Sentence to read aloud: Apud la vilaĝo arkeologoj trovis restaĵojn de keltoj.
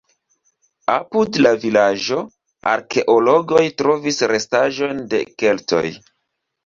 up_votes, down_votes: 2, 0